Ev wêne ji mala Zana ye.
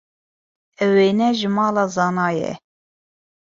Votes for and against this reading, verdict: 2, 0, accepted